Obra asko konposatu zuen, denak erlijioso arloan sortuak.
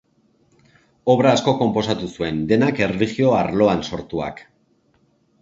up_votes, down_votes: 0, 2